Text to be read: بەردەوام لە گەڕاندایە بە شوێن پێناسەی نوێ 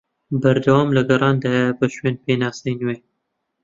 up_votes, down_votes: 2, 0